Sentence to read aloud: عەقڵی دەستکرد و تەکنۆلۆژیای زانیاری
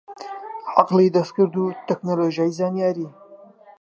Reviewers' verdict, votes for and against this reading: rejected, 0, 3